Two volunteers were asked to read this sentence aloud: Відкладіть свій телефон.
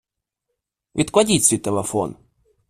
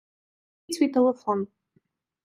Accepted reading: first